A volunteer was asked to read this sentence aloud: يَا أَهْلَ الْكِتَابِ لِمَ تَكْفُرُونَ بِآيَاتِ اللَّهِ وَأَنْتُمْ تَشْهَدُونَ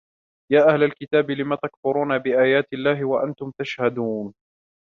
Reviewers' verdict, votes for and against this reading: accepted, 2, 0